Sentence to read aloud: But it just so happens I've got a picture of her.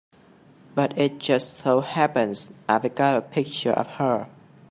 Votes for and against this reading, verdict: 1, 2, rejected